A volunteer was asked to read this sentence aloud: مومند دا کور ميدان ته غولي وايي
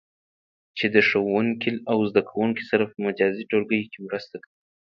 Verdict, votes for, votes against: rejected, 1, 2